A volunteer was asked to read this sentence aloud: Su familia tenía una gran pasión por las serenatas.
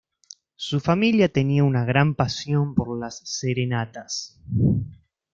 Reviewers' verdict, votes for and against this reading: accepted, 2, 0